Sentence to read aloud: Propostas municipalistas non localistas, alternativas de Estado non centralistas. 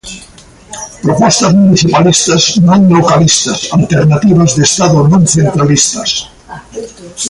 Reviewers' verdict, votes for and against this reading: accepted, 2, 0